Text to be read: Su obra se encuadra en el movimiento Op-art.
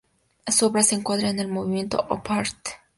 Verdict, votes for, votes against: accepted, 2, 0